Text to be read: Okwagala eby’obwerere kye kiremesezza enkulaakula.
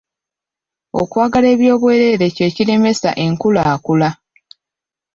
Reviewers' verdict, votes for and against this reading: rejected, 0, 2